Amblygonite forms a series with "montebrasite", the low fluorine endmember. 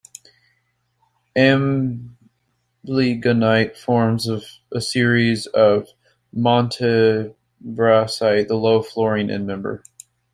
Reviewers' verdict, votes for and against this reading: rejected, 0, 2